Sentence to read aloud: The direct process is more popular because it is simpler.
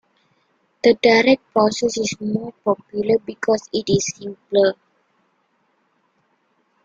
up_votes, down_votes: 2, 0